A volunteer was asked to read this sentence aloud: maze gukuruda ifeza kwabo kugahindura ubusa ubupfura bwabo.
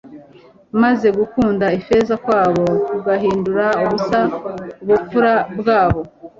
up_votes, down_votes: 0, 2